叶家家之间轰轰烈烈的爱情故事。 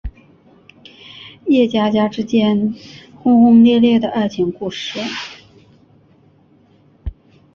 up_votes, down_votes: 6, 0